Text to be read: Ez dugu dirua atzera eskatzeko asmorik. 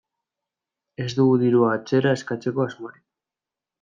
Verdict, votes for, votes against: accepted, 2, 0